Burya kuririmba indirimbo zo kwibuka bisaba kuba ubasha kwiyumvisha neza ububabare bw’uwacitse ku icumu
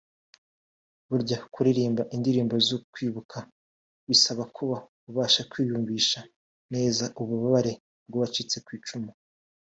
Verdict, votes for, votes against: accepted, 2, 0